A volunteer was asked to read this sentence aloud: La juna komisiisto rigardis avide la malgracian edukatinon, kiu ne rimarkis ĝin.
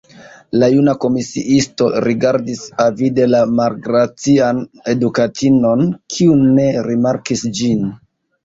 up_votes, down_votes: 2, 0